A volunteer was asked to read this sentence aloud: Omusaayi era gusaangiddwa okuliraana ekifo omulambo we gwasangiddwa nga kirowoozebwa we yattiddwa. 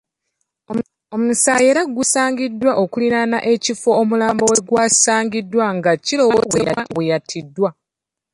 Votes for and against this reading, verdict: 0, 2, rejected